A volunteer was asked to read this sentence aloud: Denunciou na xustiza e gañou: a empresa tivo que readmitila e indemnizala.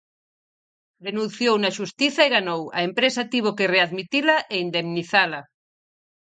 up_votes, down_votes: 0, 4